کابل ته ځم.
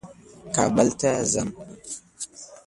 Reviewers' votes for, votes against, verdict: 2, 0, accepted